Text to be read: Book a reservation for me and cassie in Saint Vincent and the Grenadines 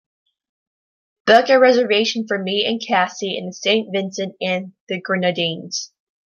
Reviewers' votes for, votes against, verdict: 2, 0, accepted